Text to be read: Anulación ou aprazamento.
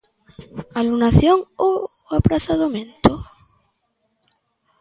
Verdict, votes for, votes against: accepted, 2, 0